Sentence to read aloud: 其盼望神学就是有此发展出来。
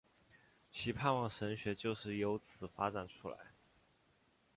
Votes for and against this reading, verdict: 1, 2, rejected